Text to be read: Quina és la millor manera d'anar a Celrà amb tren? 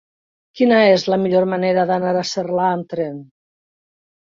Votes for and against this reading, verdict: 0, 2, rejected